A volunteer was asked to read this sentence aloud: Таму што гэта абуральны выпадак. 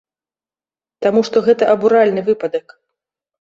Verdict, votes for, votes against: accepted, 2, 0